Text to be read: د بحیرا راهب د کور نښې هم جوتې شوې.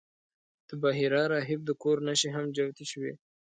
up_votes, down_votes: 2, 0